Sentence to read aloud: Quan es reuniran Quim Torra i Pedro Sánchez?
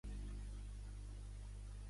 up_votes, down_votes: 0, 2